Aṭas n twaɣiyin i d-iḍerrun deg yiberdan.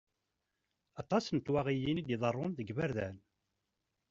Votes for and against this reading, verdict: 2, 0, accepted